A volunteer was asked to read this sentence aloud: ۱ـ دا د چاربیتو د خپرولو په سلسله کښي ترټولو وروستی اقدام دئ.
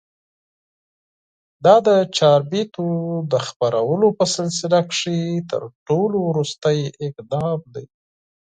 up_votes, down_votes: 0, 2